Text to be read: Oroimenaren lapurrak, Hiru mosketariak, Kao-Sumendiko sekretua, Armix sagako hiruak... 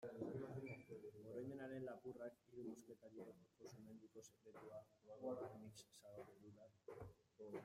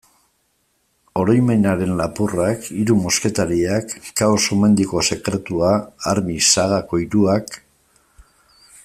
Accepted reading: second